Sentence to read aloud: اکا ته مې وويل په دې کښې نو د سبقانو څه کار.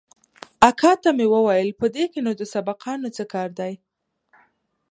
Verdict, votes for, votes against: rejected, 1, 2